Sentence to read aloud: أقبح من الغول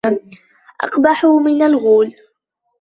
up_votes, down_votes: 0, 3